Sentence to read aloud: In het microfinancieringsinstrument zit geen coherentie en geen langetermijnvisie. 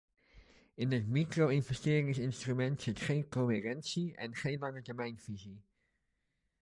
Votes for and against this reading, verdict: 1, 2, rejected